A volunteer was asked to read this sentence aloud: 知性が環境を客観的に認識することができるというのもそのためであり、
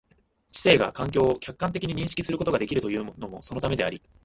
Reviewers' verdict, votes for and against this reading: rejected, 0, 2